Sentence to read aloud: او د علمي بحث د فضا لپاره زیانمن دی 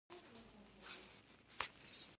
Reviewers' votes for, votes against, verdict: 0, 2, rejected